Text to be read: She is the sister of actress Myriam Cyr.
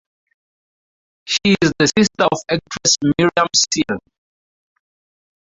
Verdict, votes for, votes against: rejected, 2, 2